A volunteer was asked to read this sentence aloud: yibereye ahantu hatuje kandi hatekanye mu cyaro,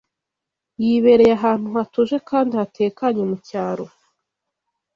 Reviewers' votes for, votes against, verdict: 2, 0, accepted